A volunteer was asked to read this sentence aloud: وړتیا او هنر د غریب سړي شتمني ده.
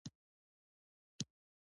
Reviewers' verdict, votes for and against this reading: accepted, 2, 1